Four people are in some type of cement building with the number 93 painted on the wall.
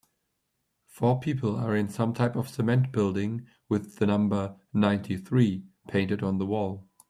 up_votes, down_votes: 0, 2